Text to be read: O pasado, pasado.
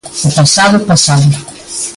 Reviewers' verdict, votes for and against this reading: rejected, 0, 2